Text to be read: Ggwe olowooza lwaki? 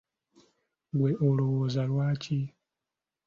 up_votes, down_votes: 2, 0